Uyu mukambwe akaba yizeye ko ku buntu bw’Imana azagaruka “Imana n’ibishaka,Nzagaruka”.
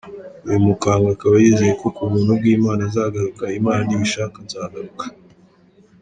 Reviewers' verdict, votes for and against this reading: accepted, 2, 0